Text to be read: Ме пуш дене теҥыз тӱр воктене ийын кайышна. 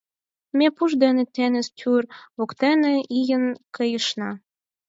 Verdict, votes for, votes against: rejected, 2, 4